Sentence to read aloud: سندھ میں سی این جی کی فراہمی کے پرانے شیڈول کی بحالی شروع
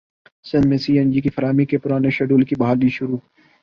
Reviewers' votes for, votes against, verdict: 11, 1, accepted